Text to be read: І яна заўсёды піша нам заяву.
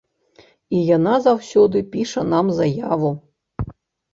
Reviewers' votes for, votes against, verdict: 2, 0, accepted